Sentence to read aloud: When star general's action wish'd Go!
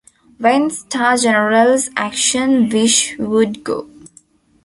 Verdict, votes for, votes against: rejected, 1, 2